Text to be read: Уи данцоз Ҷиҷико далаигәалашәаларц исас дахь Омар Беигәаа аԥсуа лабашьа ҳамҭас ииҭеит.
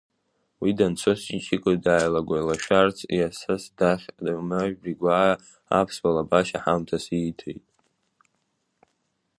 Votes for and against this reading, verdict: 0, 2, rejected